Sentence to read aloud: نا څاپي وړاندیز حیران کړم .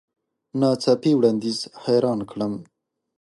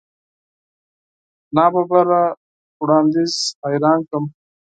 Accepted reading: first